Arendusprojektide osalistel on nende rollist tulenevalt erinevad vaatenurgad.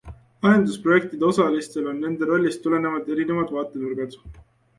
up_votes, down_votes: 2, 0